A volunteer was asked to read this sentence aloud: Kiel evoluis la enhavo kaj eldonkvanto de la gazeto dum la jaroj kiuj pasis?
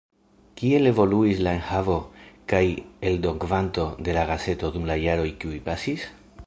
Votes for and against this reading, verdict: 1, 2, rejected